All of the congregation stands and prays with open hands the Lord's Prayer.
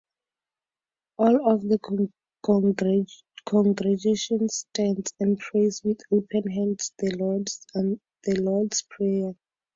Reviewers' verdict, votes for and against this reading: rejected, 0, 2